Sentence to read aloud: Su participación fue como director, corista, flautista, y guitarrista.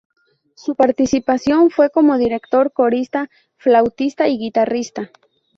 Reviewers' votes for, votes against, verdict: 2, 0, accepted